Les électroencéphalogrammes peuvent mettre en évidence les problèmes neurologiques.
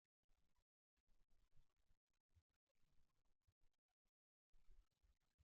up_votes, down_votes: 0, 2